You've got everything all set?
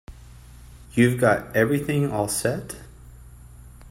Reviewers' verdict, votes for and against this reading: accepted, 2, 0